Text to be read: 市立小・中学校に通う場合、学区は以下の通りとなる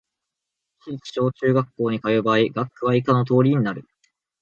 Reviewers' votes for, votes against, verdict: 2, 0, accepted